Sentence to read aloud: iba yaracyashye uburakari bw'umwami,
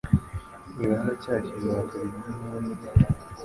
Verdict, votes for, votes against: rejected, 1, 2